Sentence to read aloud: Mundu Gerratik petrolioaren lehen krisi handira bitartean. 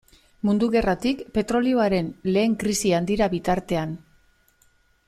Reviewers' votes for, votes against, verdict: 2, 0, accepted